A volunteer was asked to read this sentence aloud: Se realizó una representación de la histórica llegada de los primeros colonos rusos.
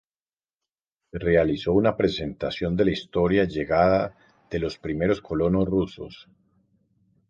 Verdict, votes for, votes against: rejected, 2, 2